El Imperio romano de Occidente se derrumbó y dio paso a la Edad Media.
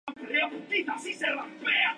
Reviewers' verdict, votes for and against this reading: rejected, 0, 10